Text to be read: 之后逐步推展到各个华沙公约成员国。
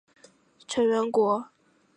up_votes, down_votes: 0, 3